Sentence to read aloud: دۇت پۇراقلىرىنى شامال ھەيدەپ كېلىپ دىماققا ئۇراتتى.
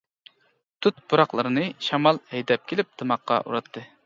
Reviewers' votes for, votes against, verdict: 2, 0, accepted